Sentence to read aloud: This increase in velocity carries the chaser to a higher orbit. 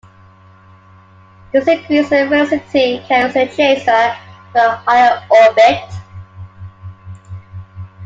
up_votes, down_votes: 0, 2